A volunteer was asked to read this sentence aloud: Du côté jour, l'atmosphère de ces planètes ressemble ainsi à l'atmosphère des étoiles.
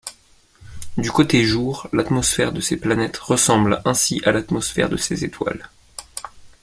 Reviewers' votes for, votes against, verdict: 0, 2, rejected